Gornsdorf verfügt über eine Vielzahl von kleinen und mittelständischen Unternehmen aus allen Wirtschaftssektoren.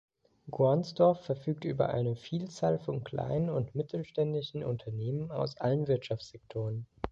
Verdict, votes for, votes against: rejected, 1, 2